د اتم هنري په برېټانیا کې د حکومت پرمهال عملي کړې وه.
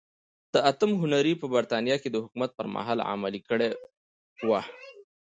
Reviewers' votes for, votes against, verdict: 2, 1, accepted